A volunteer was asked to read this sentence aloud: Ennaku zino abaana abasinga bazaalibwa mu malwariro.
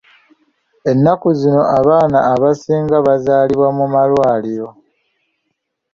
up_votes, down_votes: 2, 0